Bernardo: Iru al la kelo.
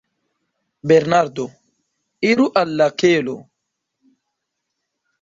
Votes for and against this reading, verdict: 1, 2, rejected